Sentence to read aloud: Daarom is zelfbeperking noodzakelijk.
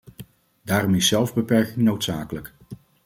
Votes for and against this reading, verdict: 2, 0, accepted